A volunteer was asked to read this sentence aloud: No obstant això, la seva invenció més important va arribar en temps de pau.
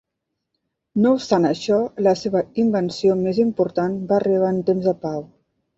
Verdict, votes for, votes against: accepted, 2, 0